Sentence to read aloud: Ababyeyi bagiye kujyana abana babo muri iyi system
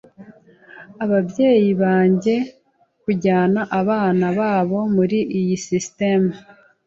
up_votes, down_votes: 0, 2